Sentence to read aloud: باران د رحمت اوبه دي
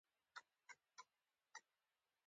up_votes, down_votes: 1, 2